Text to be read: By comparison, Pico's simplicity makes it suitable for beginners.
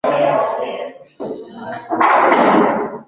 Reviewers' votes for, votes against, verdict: 0, 2, rejected